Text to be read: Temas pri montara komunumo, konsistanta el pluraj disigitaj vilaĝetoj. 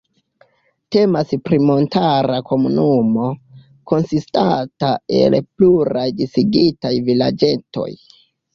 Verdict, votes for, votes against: rejected, 0, 2